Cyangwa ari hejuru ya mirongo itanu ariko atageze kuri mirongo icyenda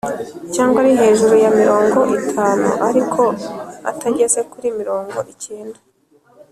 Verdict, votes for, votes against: accepted, 2, 0